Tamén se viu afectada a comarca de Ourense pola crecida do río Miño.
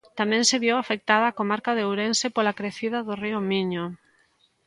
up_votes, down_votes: 2, 0